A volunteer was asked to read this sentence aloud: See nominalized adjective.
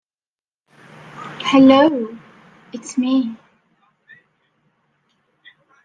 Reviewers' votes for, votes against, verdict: 0, 2, rejected